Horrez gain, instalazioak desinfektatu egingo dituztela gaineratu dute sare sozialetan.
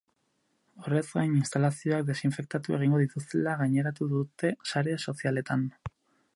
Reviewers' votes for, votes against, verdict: 4, 0, accepted